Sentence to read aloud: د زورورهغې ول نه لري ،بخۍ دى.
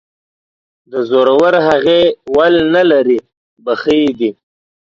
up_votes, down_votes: 2, 0